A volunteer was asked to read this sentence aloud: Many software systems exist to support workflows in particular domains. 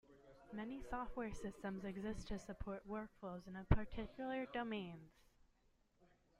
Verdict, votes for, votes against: rejected, 1, 2